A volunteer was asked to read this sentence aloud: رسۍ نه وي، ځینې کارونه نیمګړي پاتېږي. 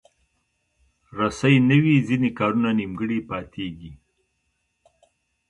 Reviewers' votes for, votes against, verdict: 1, 2, rejected